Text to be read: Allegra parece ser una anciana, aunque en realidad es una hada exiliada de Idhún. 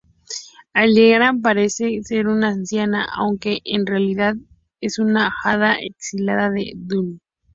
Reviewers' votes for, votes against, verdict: 0, 4, rejected